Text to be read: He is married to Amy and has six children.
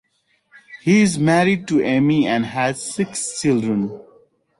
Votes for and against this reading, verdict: 2, 0, accepted